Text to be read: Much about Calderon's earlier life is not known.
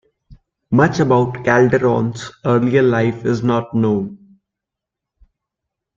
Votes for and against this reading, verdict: 2, 0, accepted